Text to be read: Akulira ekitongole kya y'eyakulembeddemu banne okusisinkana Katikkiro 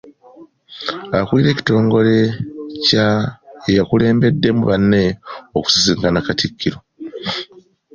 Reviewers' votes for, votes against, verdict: 2, 0, accepted